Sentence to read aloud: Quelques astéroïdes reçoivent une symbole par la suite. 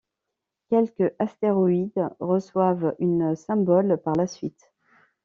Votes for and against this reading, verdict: 2, 0, accepted